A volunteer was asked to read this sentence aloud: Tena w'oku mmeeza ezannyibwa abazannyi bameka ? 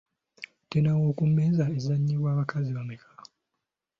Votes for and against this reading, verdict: 0, 2, rejected